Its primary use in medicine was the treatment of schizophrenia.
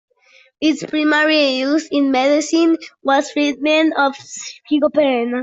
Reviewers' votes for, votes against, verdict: 0, 2, rejected